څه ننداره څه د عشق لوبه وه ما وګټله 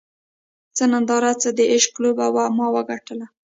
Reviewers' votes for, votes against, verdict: 2, 0, accepted